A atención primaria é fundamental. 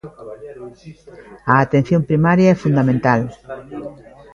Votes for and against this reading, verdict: 2, 3, rejected